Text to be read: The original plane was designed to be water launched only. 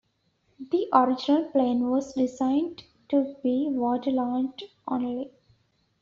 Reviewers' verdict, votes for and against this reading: rejected, 1, 2